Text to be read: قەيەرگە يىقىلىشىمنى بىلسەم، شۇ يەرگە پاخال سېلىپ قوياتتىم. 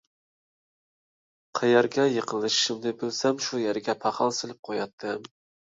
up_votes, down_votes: 2, 0